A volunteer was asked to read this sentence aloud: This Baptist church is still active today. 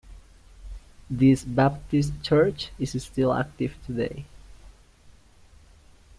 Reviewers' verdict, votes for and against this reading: rejected, 1, 2